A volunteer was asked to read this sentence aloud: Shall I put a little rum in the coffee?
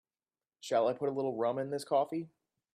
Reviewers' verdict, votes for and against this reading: rejected, 0, 3